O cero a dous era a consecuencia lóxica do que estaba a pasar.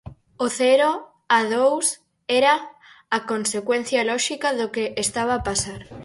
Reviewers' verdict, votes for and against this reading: accepted, 4, 0